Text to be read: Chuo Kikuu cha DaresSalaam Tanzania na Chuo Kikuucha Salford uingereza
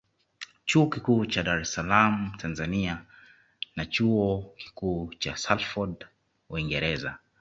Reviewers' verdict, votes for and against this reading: accepted, 2, 0